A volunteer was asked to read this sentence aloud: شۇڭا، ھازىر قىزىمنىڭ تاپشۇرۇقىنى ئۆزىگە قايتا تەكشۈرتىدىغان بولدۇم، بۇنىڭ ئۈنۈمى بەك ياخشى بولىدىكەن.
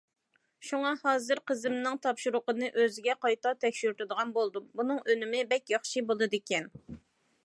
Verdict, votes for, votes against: accepted, 2, 0